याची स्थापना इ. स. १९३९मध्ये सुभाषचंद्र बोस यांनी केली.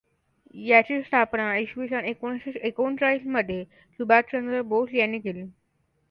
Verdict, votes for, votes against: rejected, 0, 2